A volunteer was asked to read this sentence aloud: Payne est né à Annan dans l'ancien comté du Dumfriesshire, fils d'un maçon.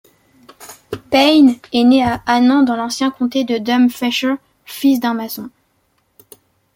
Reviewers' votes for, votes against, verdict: 2, 1, accepted